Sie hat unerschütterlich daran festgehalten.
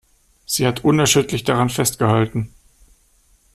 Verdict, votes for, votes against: rejected, 0, 2